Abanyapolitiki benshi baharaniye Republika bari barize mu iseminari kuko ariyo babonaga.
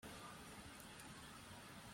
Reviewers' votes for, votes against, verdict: 0, 2, rejected